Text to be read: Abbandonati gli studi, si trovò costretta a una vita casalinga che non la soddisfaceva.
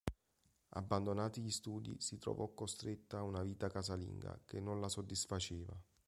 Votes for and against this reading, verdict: 3, 0, accepted